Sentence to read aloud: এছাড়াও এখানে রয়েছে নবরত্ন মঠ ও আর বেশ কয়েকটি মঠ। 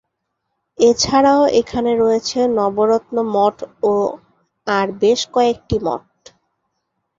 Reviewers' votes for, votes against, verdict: 4, 0, accepted